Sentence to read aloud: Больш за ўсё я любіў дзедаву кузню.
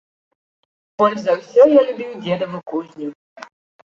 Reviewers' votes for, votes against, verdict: 2, 1, accepted